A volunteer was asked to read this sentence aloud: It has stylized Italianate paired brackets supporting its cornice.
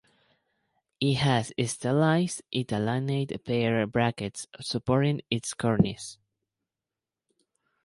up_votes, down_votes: 0, 2